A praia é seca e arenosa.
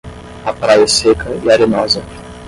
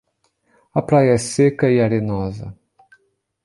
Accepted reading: second